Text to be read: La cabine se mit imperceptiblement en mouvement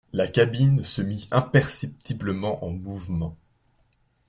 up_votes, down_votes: 2, 0